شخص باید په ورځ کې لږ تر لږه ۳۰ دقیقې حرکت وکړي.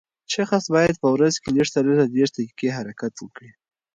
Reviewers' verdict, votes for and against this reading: rejected, 0, 2